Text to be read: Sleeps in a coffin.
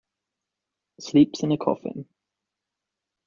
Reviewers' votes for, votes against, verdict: 2, 0, accepted